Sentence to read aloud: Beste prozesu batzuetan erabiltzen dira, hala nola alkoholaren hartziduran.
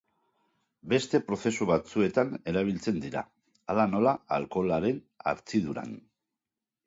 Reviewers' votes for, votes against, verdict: 2, 0, accepted